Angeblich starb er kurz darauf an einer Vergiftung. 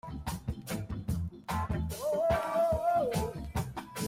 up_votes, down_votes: 0, 2